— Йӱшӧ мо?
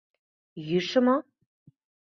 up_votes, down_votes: 2, 0